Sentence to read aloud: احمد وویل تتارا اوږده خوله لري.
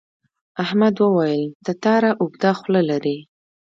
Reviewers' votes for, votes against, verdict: 2, 1, accepted